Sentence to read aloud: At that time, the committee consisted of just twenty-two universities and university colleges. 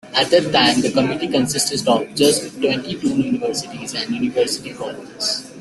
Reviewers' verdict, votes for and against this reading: accepted, 2, 1